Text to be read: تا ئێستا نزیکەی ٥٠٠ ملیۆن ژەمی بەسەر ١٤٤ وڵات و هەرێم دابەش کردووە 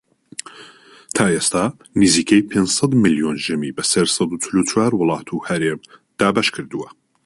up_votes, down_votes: 0, 2